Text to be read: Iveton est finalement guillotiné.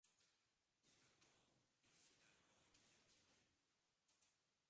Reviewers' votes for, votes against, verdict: 0, 2, rejected